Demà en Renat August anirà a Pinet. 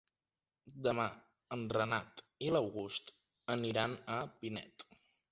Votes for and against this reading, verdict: 1, 2, rejected